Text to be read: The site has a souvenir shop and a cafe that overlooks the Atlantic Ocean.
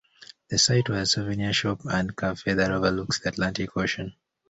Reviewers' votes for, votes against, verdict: 0, 2, rejected